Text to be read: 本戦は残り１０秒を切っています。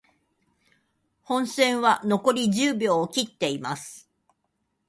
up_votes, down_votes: 0, 2